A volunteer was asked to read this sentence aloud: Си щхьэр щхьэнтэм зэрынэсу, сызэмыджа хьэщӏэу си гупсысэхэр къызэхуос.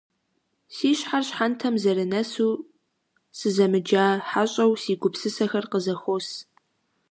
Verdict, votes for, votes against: accepted, 2, 0